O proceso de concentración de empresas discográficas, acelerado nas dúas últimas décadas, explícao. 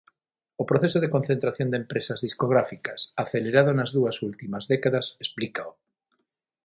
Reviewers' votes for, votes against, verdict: 6, 0, accepted